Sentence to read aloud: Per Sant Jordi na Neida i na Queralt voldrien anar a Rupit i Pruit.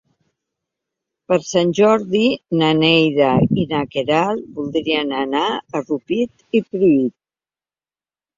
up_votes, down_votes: 3, 0